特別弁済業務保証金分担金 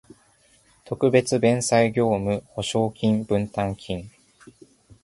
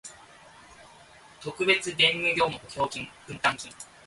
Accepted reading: first